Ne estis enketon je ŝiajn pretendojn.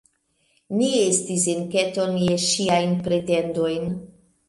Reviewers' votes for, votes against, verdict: 0, 2, rejected